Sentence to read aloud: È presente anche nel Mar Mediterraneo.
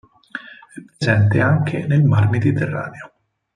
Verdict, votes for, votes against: rejected, 0, 4